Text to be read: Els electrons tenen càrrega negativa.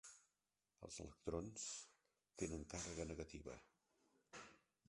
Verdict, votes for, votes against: rejected, 1, 2